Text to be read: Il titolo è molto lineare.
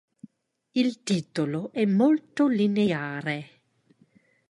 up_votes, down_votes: 2, 0